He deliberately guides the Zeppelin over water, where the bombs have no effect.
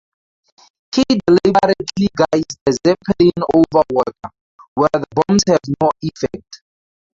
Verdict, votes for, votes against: rejected, 0, 2